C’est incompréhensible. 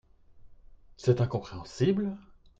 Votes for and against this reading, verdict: 2, 0, accepted